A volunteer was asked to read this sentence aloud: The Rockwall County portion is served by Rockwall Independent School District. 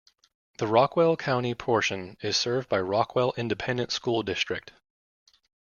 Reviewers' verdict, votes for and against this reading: rejected, 0, 2